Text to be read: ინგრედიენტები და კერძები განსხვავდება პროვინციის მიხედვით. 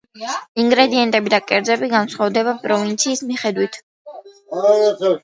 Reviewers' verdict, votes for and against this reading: accepted, 2, 0